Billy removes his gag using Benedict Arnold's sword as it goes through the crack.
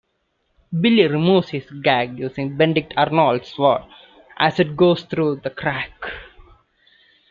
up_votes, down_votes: 0, 2